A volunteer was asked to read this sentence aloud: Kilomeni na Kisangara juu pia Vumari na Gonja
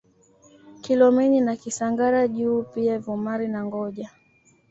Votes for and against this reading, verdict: 1, 2, rejected